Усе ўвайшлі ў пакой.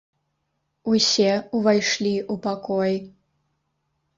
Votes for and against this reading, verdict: 0, 3, rejected